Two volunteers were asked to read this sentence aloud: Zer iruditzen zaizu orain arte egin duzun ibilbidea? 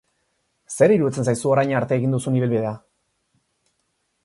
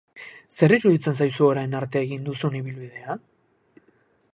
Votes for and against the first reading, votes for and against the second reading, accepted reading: 8, 0, 0, 2, first